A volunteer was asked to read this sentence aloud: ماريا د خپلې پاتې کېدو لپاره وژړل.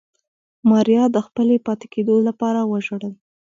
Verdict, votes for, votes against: rejected, 1, 2